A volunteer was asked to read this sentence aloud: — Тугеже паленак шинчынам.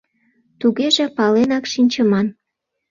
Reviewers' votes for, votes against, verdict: 1, 2, rejected